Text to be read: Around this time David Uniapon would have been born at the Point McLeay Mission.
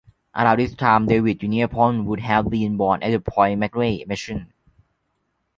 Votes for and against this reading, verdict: 2, 1, accepted